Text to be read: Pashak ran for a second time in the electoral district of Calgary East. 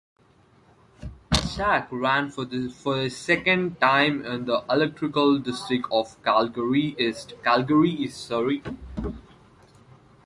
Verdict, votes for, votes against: rejected, 0, 2